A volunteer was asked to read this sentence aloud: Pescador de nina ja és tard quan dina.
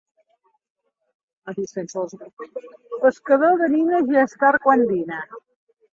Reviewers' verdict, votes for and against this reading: rejected, 0, 3